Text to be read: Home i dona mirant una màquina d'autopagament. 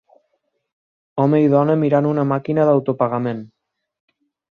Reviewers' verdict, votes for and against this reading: accepted, 4, 0